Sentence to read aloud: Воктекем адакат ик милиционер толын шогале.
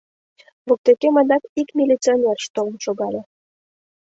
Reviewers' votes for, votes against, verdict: 2, 1, accepted